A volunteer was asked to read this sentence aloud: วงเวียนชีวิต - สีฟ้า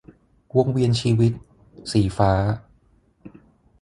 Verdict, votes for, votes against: rejected, 3, 6